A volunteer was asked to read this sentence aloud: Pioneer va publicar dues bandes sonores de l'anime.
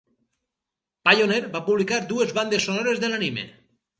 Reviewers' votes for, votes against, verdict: 4, 0, accepted